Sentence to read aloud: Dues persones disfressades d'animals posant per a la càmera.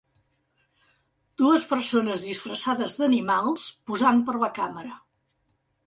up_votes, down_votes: 2, 0